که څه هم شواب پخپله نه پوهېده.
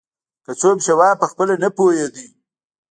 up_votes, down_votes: 1, 2